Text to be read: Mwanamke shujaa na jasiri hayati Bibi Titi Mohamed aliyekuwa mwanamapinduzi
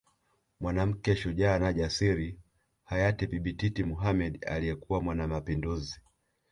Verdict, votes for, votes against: rejected, 0, 2